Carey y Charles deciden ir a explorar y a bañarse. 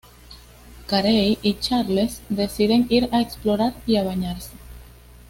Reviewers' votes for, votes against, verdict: 2, 0, accepted